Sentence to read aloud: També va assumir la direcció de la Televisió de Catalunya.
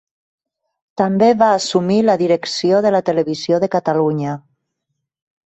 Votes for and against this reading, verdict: 3, 0, accepted